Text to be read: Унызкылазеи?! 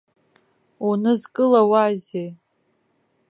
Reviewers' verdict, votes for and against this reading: rejected, 0, 2